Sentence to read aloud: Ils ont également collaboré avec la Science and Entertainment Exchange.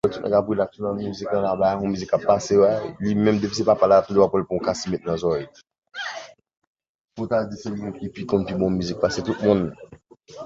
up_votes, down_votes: 0, 2